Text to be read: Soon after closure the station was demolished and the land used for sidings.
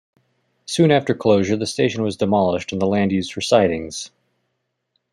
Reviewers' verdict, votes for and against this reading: accepted, 2, 0